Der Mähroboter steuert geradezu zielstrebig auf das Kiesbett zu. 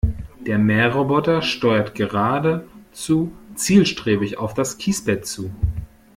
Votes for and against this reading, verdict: 1, 2, rejected